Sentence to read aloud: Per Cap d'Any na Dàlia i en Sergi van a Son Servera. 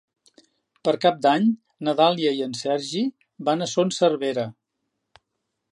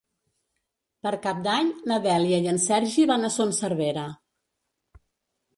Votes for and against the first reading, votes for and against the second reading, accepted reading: 2, 0, 0, 2, first